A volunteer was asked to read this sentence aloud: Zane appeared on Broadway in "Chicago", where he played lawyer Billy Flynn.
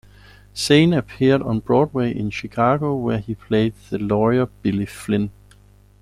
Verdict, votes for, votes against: rejected, 0, 2